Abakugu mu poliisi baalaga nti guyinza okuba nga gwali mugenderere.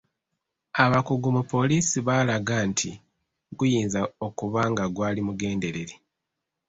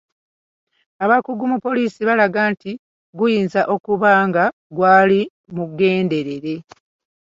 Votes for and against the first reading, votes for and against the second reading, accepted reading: 2, 0, 1, 2, first